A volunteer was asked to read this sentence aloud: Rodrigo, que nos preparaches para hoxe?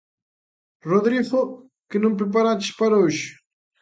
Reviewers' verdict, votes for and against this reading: rejected, 0, 2